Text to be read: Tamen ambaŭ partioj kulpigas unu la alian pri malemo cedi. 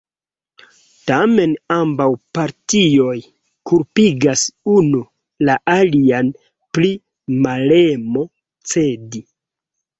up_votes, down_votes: 2, 1